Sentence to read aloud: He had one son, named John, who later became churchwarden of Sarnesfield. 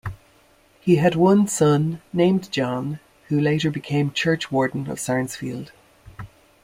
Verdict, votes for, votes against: accepted, 2, 0